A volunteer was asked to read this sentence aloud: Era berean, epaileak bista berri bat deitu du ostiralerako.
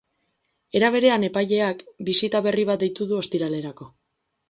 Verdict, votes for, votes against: rejected, 2, 4